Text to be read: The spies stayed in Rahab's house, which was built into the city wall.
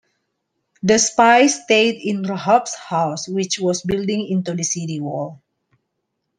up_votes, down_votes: 1, 2